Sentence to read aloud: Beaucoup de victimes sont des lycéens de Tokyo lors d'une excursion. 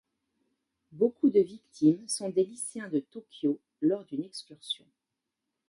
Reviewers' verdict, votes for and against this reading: accepted, 2, 0